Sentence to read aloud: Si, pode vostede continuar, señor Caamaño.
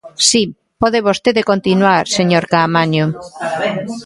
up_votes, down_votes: 1, 2